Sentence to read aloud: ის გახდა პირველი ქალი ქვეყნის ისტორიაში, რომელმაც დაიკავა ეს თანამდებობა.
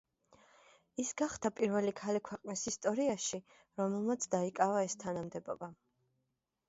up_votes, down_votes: 2, 0